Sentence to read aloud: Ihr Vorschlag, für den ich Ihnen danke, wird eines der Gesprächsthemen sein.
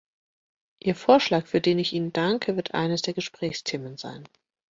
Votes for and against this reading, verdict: 2, 0, accepted